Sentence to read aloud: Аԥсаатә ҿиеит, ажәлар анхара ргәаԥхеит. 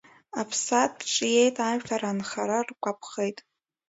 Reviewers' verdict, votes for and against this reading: accepted, 2, 1